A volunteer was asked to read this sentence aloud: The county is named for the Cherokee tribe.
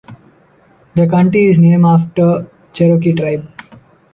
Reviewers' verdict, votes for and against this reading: rejected, 1, 2